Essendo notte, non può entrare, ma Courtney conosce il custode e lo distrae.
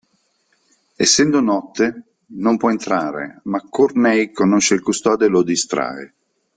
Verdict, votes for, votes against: accepted, 2, 0